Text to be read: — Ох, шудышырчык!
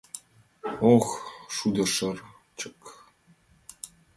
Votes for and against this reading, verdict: 2, 0, accepted